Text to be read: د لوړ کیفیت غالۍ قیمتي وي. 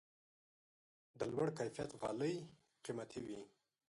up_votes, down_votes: 2, 3